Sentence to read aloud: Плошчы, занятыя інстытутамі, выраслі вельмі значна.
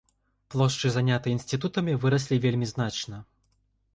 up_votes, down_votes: 1, 2